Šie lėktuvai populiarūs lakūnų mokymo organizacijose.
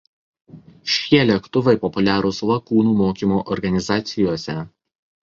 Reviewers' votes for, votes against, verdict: 0, 2, rejected